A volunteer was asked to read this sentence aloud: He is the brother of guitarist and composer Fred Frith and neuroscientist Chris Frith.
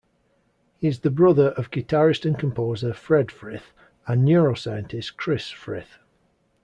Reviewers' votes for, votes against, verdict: 2, 0, accepted